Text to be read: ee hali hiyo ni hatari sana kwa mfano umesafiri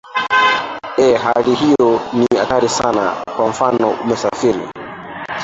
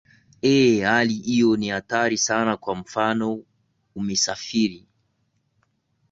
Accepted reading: second